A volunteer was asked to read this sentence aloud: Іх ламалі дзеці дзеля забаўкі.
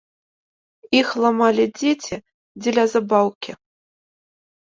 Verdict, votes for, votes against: accepted, 2, 0